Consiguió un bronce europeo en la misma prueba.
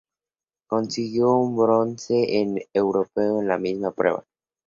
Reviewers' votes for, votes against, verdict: 0, 2, rejected